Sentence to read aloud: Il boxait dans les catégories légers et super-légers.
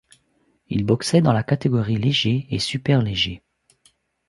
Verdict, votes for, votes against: accepted, 2, 1